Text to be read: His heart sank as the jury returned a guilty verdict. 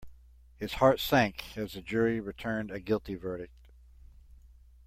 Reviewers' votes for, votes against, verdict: 2, 0, accepted